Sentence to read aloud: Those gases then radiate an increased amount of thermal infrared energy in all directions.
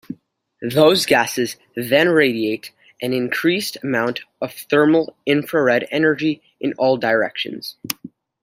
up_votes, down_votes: 2, 0